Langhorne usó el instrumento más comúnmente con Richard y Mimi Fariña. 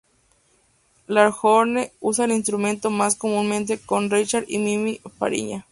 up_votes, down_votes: 4, 2